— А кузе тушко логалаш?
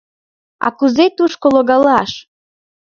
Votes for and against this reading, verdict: 2, 0, accepted